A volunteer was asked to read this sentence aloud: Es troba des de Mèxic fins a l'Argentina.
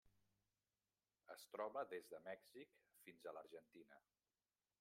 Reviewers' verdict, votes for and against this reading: rejected, 1, 2